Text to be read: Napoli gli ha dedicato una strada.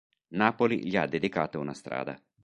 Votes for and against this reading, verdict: 3, 0, accepted